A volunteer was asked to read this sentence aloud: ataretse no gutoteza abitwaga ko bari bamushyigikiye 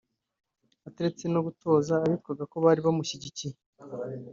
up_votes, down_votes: 1, 2